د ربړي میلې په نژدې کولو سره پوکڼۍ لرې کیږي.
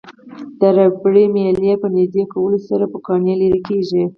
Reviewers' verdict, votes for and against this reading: accepted, 4, 2